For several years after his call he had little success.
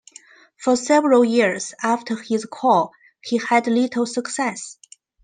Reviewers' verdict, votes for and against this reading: accepted, 2, 0